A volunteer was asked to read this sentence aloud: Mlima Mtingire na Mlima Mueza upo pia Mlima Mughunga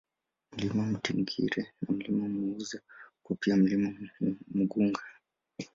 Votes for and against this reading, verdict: 2, 1, accepted